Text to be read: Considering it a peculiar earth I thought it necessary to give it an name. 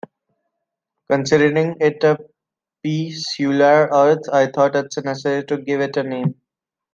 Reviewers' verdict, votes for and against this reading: rejected, 1, 2